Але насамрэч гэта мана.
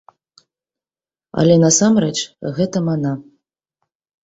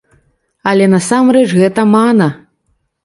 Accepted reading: first